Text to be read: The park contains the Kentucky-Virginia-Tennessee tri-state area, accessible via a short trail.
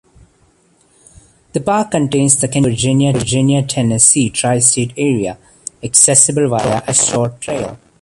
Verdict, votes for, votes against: rejected, 0, 2